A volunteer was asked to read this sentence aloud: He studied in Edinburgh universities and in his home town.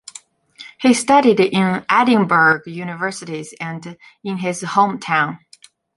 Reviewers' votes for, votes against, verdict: 3, 1, accepted